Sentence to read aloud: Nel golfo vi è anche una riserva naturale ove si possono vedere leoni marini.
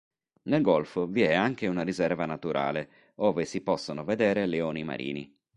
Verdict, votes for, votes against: accepted, 2, 0